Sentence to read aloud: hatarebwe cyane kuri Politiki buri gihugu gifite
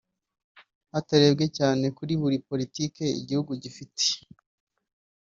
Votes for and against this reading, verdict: 0, 2, rejected